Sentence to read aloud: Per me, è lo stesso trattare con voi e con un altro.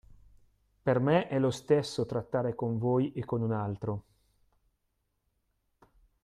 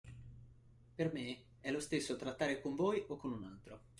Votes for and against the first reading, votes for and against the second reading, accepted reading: 2, 0, 1, 2, first